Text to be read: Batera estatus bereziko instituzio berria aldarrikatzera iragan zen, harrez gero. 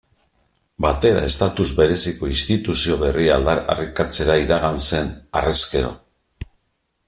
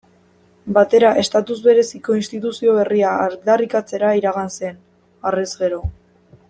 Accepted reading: second